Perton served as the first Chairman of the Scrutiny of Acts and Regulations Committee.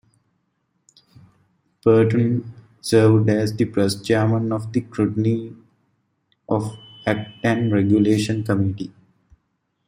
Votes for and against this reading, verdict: 0, 2, rejected